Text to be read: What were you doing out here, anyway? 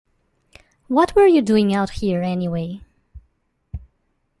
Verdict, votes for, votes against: accepted, 2, 0